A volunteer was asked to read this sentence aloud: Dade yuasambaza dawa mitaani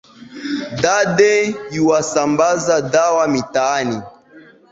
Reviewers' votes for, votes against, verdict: 1, 2, rejected